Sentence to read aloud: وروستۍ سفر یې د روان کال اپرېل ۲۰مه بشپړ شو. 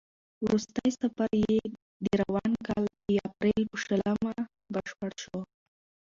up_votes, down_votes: 0, 2